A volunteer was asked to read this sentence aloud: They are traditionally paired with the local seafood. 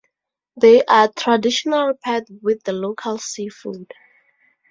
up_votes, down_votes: 0, 2